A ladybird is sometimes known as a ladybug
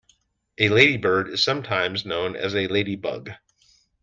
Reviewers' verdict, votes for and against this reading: accepted, 2, 0